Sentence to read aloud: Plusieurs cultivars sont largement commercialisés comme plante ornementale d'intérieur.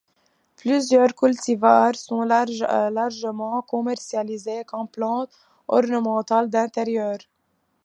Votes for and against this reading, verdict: 1, 2, rejected